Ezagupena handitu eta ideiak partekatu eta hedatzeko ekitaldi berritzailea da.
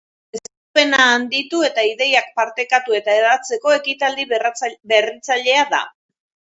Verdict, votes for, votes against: rejected, 0, 2